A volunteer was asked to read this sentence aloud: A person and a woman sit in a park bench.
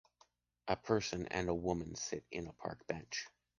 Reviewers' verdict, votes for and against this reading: accepted, 2, 0